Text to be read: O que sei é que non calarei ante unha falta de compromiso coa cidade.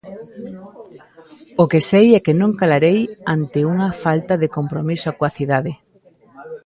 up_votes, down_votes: 0, 2